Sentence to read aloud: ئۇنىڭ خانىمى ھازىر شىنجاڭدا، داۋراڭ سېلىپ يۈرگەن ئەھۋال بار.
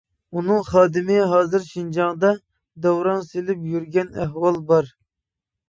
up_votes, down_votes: 2, 3